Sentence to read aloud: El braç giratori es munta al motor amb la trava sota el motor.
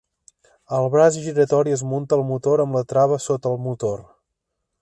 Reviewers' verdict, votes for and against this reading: accepted, 2, 0